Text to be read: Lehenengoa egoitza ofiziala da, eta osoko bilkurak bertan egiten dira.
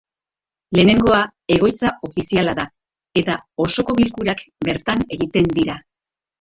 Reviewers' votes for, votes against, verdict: 3, 2, accepted